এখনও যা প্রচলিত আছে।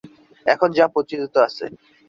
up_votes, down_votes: 0, 2